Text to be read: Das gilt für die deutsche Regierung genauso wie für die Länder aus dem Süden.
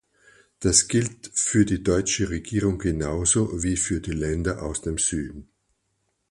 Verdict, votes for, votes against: accepted, 4, 0